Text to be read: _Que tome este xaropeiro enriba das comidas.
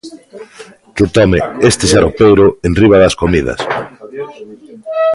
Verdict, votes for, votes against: rejected, 1, 2